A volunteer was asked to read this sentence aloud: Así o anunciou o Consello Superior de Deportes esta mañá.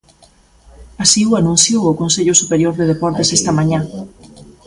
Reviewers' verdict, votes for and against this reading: accepted, 2, 1